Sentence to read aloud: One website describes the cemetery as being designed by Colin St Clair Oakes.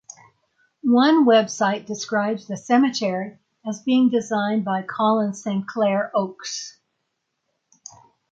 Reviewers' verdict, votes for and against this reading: rejected, 3, 3